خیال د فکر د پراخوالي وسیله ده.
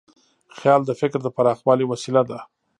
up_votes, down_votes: 1, 2